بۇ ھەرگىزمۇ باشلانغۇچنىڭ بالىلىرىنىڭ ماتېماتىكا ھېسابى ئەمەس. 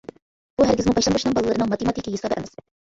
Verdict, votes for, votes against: rejected, 0, 2